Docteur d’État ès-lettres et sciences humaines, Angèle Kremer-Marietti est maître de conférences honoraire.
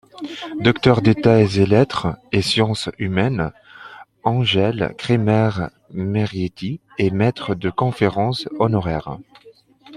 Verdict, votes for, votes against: accepted, 2, 1